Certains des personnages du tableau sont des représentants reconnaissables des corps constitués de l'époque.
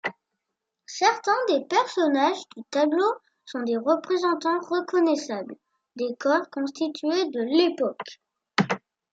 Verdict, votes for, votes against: accepted, 2, 0